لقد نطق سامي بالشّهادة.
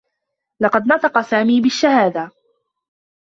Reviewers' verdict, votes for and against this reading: accepted, 2, 1